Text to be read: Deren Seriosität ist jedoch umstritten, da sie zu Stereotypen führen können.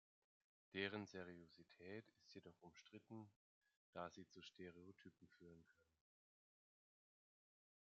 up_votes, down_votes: 1, 2